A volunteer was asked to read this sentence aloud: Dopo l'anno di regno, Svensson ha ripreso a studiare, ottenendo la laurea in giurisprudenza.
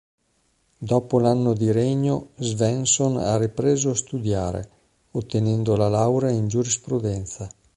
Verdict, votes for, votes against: accepted, 2, 0